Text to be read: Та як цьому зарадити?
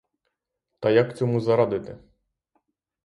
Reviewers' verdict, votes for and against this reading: accepted, 3, 0